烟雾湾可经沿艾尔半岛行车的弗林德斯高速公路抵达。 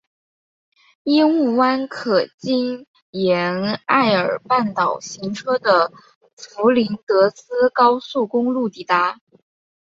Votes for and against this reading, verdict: 1, 2, rejected